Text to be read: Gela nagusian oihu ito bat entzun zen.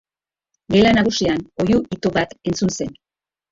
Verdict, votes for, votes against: rejected, 1, 2